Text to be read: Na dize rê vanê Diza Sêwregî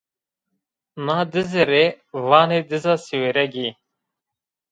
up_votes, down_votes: 1, 2